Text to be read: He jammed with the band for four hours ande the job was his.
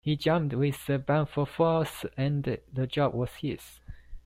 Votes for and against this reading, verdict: 0, 2, rejected